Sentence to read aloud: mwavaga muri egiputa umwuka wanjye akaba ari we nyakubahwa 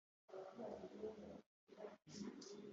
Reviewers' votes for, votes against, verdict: 0, 3, rejected